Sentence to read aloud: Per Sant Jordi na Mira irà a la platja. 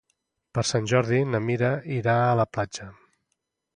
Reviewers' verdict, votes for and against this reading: accepted, 2, 0